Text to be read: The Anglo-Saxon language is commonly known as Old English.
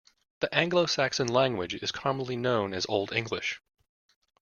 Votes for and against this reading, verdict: 2, 0, accepted